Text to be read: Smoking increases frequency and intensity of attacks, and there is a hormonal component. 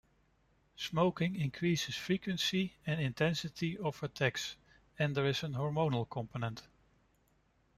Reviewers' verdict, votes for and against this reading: accepted, 2, 0